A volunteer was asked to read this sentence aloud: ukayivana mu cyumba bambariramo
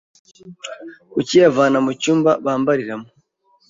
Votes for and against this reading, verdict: 2, 1, accepted